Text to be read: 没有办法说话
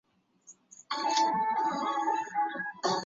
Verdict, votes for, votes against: rejected, 0, 5